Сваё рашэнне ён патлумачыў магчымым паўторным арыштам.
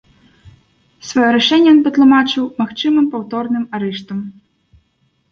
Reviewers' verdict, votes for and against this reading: rejected, 1, 2